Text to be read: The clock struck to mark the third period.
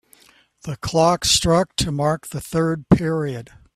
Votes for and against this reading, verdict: 2, 0, accepted